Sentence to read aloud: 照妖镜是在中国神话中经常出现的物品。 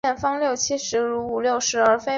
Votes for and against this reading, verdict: 0, 2, rejected